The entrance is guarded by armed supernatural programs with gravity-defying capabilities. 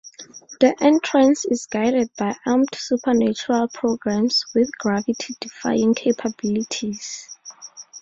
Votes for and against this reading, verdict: 4, 0, accepted